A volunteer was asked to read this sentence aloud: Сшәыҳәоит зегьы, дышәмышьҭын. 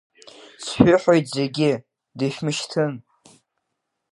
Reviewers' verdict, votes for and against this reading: accepted, 2, 0